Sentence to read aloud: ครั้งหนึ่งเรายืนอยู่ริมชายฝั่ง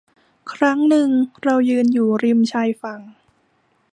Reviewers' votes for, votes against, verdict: 2, 0, accepted